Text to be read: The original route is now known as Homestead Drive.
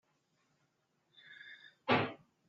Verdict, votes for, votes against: rejected, 0, 2